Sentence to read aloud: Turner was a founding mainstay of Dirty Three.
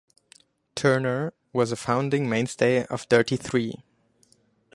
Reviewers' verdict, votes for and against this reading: accepted, 2, 0